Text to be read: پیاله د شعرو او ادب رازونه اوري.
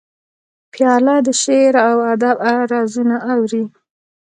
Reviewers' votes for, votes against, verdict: 2, 0, accepted